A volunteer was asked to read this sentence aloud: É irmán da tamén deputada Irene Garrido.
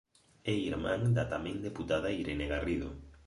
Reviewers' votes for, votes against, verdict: 4, 1, accepted